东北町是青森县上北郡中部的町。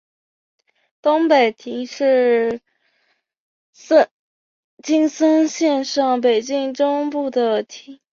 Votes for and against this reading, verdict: 2, 1, accepted